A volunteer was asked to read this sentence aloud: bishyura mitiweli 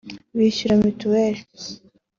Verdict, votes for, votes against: accepted, 2, 0